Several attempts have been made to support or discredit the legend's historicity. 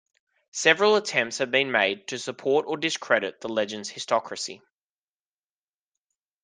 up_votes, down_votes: 1, 2